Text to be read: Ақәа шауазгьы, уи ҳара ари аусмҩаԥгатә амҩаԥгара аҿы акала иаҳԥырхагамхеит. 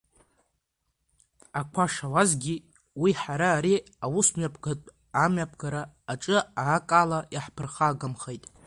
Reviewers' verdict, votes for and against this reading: rejected, 0, 2